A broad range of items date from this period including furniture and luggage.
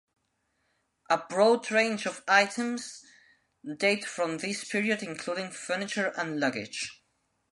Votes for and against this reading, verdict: 2, 0, accepted